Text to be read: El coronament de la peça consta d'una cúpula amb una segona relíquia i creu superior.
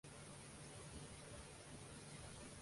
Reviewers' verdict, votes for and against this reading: rejected, 0, 2